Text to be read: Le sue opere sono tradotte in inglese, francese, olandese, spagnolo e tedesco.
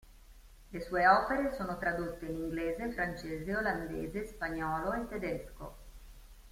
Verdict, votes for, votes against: accepted, 2, 0